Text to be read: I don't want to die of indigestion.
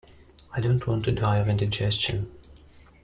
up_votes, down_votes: 2, 0